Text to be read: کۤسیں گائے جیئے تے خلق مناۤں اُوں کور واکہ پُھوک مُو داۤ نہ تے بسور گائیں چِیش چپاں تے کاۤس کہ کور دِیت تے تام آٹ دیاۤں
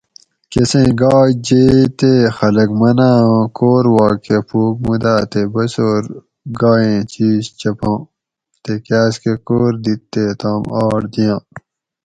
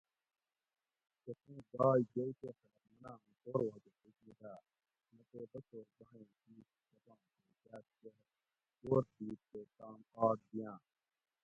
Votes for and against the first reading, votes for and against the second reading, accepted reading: 4, 2, 0, 2, first